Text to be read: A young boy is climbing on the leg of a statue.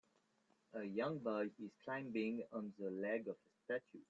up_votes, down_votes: 1, 2